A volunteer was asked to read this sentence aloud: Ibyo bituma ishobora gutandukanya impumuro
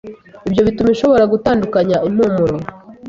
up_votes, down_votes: 2, 0